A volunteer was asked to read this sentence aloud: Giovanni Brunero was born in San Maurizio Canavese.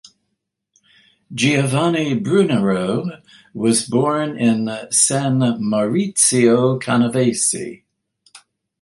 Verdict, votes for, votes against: accepted, 2, 0